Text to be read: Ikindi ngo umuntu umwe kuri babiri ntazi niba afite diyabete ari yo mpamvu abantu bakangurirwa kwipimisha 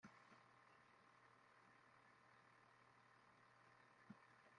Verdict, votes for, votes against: rejected, 0, 2